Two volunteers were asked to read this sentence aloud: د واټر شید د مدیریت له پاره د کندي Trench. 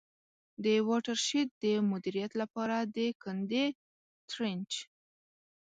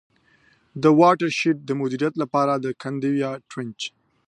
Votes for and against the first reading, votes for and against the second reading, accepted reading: 1, 2, 2, 0, second